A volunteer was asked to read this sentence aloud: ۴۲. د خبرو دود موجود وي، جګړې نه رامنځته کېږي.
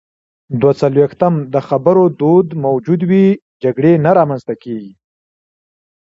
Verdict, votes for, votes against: rejected, 0, 2